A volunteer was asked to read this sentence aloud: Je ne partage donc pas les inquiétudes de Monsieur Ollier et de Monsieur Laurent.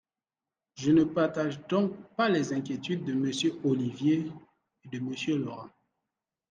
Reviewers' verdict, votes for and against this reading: rejected, 0, 2